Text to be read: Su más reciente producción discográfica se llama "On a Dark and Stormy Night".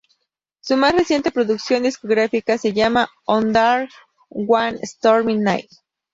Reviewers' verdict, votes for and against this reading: rejected, 0, 2